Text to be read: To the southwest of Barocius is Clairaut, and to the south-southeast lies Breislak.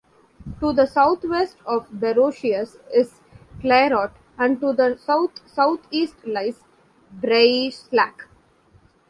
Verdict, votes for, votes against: accepted, 2, 0